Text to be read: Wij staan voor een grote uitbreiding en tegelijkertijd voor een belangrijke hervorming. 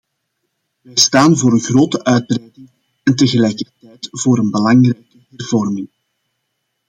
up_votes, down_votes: 0, 2